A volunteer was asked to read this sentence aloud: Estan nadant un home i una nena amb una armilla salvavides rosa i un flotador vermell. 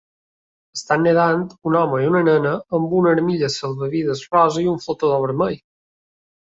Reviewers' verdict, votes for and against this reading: rejected, 1, 2